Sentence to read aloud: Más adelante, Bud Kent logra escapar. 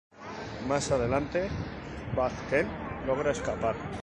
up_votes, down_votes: 2, 0